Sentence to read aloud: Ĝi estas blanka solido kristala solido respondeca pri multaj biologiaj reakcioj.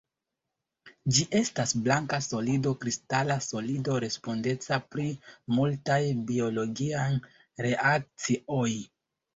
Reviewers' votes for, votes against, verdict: 1, 2, rejected